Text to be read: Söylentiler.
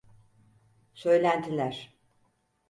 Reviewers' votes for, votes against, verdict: 4, 0, accepted